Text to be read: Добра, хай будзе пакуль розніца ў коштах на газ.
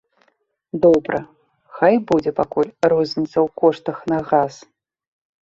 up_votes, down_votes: 3, 0